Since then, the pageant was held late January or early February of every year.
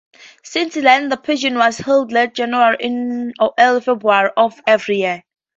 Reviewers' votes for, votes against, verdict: 0, 2, rejected